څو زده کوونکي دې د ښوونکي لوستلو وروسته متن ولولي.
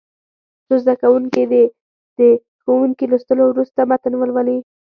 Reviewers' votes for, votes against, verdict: 2, 0, accepted